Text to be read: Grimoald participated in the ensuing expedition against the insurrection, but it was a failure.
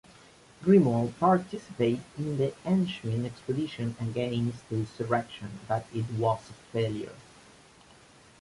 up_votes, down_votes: 1, 2